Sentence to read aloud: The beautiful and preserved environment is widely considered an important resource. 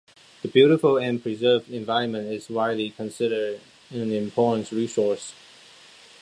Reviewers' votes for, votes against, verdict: 2, 0, accepted